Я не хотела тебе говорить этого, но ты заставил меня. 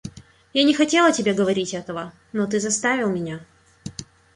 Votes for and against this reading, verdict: 0, 2, rejected